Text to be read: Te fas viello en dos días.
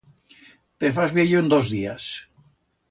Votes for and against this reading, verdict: 2, 0, accepted